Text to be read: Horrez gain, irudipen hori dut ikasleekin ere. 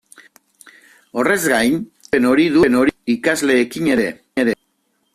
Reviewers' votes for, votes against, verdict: 0, 2, rejected